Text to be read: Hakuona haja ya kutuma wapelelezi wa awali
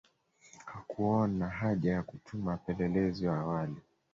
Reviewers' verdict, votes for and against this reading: rejected, 0, 2